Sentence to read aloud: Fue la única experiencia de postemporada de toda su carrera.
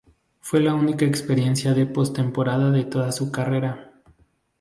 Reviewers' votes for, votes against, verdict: 2, 0, accepted